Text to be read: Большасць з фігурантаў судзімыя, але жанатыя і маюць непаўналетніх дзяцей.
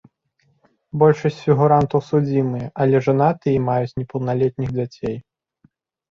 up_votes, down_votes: 2, 0